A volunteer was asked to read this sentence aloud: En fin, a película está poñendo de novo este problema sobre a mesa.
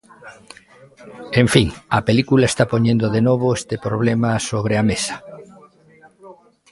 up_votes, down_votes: 0, 2